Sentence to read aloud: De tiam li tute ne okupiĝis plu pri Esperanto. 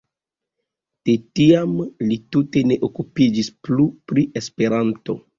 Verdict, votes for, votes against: accepted, 2, 0